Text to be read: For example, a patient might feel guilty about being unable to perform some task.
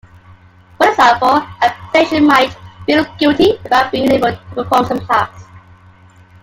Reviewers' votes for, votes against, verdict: 1, 2, rejected